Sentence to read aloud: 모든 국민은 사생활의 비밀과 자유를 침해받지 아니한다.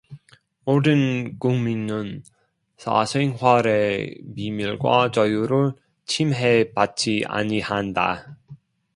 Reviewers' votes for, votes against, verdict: 2, 0, accepted